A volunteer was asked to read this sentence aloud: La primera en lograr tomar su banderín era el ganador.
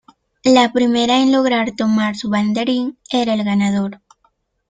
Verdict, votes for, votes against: accepted, 2, 0